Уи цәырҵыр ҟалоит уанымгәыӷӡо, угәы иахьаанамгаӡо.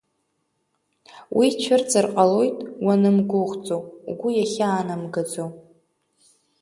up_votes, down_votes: 2, 0